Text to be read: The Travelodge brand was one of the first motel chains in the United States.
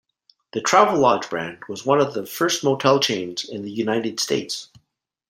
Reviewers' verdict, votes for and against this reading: accepted, 2, 0